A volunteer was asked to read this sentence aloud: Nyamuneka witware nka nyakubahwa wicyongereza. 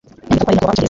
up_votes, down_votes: 1, 2